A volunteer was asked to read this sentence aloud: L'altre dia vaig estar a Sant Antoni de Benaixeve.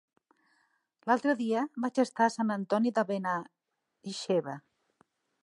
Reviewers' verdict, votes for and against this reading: rejected, 1, 2